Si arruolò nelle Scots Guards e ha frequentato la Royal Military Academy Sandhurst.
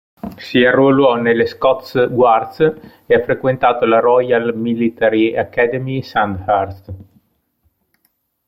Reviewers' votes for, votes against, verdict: 1, 2, rejected